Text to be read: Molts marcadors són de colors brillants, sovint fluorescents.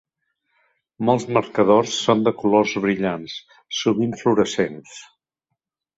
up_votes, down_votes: 2, 0